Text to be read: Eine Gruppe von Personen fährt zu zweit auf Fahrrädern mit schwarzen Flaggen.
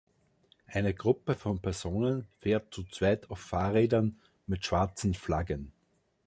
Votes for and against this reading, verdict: 2, 0, accepted